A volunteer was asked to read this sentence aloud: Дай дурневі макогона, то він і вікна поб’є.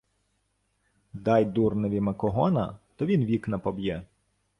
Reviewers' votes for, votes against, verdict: 1, 2, rejected